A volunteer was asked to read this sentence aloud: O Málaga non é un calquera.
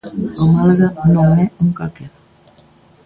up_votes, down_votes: 0, 2